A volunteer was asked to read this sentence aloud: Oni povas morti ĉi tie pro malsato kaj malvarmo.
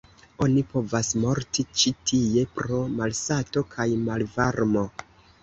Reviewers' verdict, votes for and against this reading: accepted, 2, 0